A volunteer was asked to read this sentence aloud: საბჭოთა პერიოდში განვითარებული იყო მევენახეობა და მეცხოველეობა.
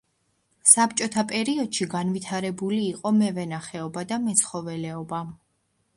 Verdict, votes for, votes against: accepted, 2, 0